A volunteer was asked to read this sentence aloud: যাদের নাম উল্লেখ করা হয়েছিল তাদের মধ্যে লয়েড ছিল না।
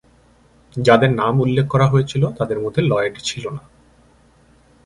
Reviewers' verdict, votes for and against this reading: accepted, 2, 0